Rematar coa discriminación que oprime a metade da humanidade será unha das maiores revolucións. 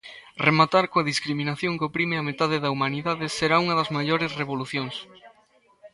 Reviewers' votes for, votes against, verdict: 2, 0, accepted